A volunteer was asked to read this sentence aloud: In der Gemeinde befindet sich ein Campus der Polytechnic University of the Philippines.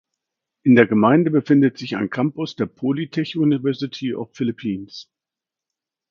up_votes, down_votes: 0, 2